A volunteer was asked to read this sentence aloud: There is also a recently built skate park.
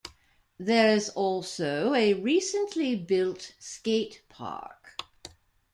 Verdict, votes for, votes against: rejected, 1, 2